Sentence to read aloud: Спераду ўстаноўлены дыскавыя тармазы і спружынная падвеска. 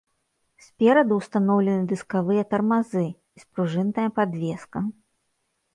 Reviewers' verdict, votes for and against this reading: rejected, 1, 2